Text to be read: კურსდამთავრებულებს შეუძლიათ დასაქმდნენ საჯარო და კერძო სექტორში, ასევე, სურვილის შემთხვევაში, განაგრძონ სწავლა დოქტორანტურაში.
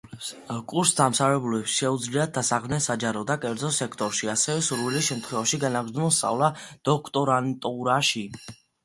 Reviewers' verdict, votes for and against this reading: accepted, 2, 1